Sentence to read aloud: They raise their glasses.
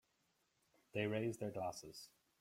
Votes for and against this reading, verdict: 2, 0, accepted